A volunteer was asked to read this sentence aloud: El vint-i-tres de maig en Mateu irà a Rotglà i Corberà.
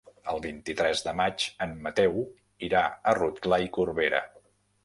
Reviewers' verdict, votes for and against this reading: rejected, 1, 2